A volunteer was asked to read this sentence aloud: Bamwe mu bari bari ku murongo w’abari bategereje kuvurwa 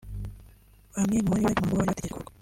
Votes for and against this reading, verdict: 1, 2, rejected